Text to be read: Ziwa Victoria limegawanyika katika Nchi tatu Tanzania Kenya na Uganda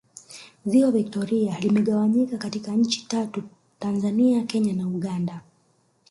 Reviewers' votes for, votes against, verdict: 4, 0, accepted